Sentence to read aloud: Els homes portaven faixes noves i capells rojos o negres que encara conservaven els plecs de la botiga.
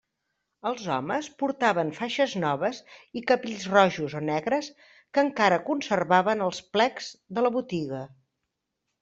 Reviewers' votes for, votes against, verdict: 2, 0, accepted